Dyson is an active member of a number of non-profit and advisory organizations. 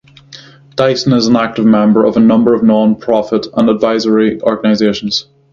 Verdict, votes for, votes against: rejected, 0, 3